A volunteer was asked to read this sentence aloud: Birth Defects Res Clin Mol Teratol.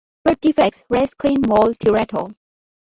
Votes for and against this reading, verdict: 2, 0, accepted